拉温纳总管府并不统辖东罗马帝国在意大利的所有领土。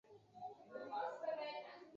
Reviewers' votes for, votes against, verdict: 1, 2, rejected